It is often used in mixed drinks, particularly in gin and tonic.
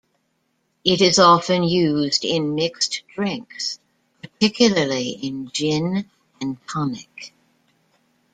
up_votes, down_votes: 2, 0